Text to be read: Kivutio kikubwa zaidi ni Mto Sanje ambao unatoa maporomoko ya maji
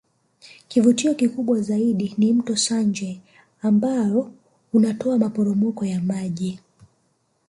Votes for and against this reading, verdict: 0, 2, rejected